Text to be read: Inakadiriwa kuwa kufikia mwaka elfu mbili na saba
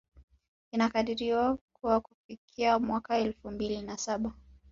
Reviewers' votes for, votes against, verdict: 2, 0, accepted